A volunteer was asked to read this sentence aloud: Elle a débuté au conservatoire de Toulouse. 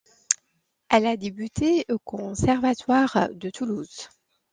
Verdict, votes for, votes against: accepted, 2, 0